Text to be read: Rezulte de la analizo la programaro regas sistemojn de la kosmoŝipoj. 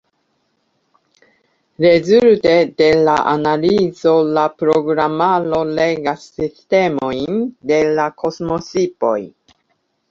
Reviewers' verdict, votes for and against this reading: rejected, 0, 2